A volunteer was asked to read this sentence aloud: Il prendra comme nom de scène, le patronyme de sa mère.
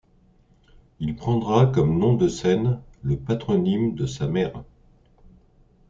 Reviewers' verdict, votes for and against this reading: accepted, 2, 0